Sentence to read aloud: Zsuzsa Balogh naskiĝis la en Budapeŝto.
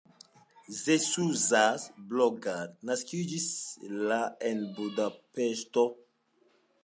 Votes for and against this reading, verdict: 2, 0, accepted